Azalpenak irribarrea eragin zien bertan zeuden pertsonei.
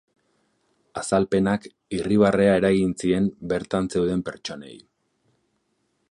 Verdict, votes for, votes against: rejected, 0, 2